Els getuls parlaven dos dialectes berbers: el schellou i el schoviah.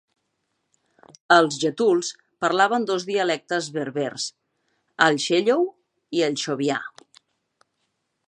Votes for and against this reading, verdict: 2, 0, accepted